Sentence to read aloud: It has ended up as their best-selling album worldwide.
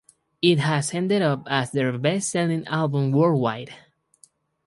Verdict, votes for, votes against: rejected, 0, 2